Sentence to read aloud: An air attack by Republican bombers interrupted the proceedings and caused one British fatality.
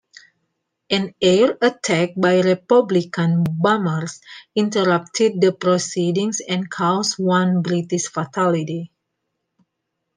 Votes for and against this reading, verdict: 2, 1, accepted